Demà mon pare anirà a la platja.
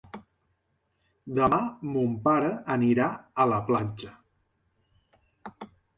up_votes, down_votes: 3, 0